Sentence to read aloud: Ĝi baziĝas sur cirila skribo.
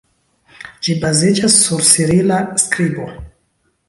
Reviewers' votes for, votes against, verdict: 0, 2, rejected